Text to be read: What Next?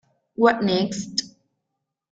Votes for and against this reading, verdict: 1, 2, rejected